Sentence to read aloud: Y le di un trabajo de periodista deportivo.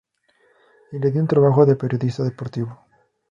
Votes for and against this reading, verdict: 6, 0, accepted